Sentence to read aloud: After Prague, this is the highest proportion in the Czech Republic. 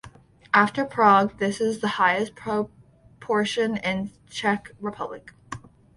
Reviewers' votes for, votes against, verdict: 2, 0, accepted